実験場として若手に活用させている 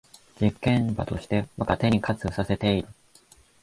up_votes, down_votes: 1, 2